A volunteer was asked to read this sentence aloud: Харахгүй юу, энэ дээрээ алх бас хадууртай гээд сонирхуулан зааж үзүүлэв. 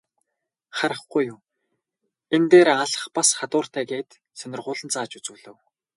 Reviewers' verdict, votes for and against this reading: accepted, 2, 0